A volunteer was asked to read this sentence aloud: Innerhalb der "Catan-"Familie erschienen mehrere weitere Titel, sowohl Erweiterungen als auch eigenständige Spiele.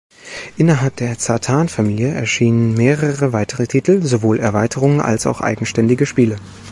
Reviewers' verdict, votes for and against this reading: rejected, 1, 2